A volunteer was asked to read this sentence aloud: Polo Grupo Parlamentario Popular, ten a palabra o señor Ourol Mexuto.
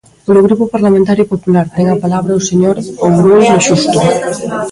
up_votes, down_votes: 1, 2